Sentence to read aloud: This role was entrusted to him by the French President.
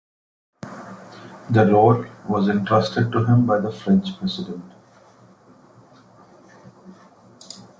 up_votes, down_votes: 0, 2